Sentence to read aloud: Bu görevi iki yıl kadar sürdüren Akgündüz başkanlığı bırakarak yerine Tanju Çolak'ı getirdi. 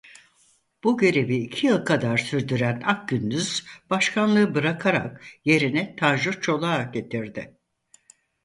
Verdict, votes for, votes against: accepted, 4, 0